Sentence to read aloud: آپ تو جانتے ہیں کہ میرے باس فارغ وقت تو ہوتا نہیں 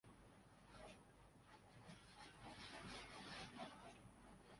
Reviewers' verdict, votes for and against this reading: rejected, 0, 2